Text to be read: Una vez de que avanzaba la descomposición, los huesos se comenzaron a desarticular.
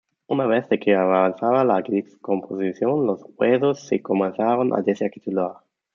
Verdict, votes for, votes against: rejected, 0, 2